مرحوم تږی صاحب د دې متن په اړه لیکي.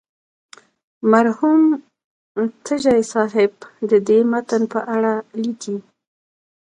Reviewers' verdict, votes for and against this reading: rejected, 1, 2